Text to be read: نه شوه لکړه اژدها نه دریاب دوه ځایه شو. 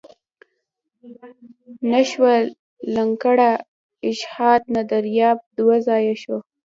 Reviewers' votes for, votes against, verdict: 1, 2, rejected